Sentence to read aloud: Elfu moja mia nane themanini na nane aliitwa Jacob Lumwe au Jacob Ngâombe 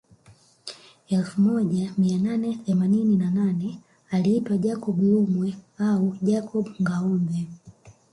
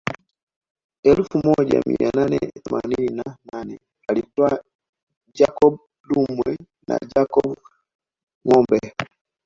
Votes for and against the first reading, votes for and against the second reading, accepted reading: 2, 1, 0, 2, first